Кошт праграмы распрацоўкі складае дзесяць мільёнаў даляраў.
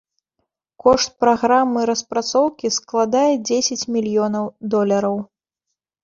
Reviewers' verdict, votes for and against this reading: rejected, 0, 2